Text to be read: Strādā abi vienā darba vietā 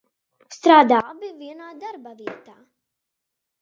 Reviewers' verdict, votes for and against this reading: rejected, 0, 2